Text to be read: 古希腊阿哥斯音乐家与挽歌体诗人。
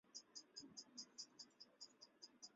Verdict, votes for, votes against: rejected, 0, 2